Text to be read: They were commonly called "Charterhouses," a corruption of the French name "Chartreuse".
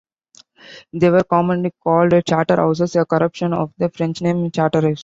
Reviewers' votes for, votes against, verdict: 0, 3, rejected